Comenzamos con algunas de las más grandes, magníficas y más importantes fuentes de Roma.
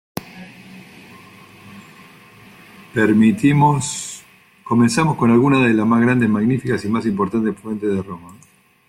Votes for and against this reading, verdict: 0, 2, rejected